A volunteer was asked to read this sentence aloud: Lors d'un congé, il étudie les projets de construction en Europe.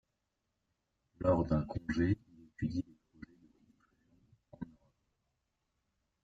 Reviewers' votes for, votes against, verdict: 1, 2, rejected